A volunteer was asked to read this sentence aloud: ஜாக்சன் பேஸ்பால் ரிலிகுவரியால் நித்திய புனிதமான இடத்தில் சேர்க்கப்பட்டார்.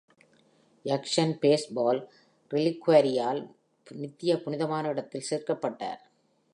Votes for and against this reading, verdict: 2, 0, accepted